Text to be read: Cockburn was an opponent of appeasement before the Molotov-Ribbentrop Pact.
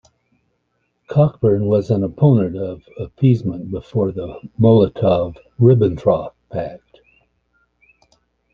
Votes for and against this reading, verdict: 2, 0, accepted